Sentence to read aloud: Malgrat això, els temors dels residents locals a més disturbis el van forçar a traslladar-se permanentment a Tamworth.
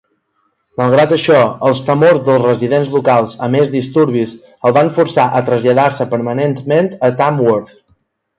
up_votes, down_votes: 2, 0